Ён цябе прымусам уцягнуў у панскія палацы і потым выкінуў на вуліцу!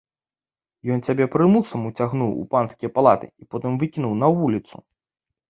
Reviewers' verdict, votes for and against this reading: rejected, 1, 2